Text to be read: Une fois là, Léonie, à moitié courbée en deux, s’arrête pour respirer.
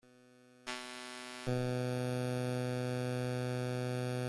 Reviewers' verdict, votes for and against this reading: rejected, 0, 2